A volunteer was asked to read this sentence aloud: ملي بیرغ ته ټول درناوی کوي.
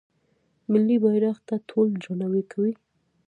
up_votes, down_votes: 1, 2